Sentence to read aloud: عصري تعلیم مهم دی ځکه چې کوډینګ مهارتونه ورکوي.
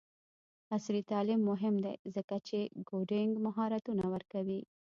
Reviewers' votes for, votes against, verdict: 2, 1, accepted